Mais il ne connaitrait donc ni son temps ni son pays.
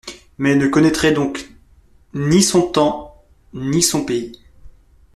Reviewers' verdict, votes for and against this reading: rejected, 1, 2